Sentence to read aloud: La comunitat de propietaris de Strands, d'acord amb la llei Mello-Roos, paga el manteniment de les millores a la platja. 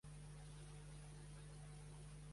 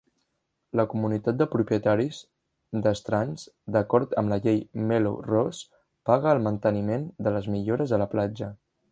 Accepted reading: second